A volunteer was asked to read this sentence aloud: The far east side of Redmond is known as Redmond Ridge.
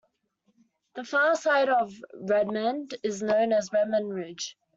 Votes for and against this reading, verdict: 1, 2, rejected